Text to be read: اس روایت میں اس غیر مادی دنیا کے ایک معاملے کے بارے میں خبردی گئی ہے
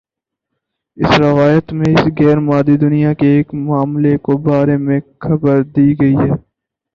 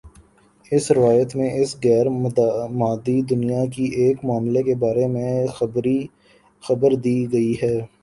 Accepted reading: first